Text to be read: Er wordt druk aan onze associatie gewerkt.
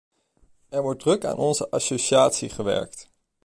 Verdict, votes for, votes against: accepted, 2, 1